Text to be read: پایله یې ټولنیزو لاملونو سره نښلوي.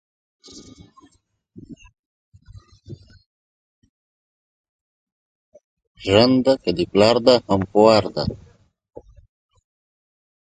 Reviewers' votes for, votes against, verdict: 0, 2, rejected